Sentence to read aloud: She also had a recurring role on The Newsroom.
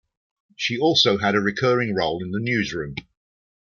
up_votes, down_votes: 1, 2